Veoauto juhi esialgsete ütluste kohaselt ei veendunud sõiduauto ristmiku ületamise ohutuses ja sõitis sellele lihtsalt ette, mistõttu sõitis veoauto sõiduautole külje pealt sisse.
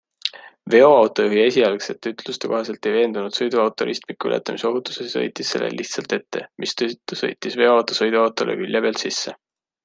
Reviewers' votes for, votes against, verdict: 2, 0, accepted